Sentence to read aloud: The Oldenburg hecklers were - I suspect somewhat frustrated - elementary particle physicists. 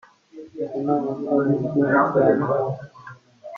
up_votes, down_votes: 0, 2